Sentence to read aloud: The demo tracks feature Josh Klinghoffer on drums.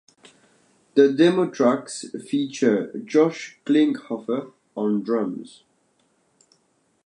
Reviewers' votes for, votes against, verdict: 2, 1, accepted